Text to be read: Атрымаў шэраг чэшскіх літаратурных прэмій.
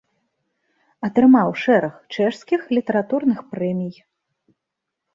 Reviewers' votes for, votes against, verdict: 2, 0, accepted